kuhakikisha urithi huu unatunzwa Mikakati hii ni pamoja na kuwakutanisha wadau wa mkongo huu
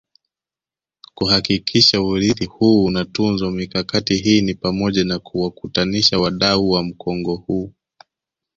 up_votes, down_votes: 2, 0